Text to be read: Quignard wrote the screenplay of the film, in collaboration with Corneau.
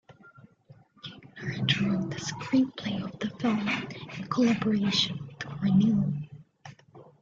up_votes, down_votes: 0, 2